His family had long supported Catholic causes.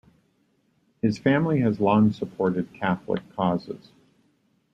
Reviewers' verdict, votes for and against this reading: accepted, 2, 0